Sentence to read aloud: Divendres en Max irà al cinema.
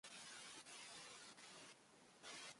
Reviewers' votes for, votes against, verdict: 0, 2, rejected